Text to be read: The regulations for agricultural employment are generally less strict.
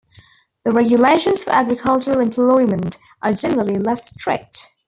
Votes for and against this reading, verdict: 2, 1, accepted